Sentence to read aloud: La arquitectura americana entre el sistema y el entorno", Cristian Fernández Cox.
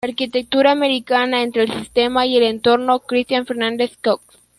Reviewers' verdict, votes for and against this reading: accepted, 2, 1